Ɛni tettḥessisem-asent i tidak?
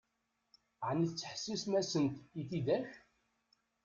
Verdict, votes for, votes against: rejected, 1, 2